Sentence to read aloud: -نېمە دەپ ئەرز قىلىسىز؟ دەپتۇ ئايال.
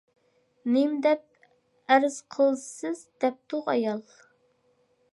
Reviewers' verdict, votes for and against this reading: accepted, 4, 0